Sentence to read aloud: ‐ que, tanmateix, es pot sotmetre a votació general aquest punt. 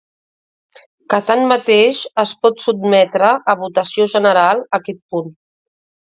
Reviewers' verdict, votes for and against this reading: accepted, 2, 0